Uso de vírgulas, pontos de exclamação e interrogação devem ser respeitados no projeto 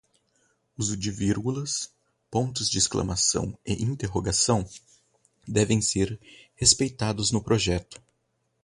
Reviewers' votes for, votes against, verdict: 4, 0, accepted